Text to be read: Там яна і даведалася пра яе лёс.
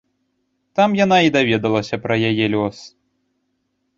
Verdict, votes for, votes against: accepted, 2, 0